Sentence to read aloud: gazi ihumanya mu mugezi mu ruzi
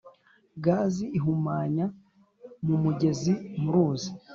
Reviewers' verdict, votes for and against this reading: accepted, 3, 0